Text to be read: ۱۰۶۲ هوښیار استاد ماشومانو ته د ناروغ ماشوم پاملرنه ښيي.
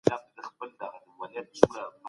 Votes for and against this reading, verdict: 0, 2, rejected